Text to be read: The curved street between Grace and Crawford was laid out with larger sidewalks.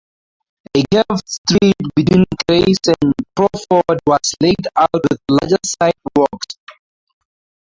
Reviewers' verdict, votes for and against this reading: accepted, 2, 0